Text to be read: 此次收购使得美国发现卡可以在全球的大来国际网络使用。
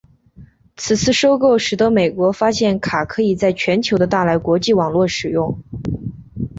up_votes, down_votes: 3, 0